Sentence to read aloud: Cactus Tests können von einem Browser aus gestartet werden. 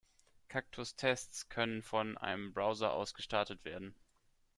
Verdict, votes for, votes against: accepted, 2, 0